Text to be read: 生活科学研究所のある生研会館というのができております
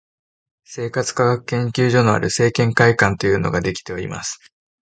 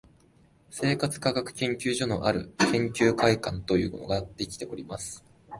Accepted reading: first